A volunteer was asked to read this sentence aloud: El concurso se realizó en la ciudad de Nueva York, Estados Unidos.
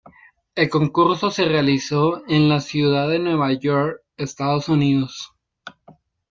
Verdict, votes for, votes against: accepted, 2, 0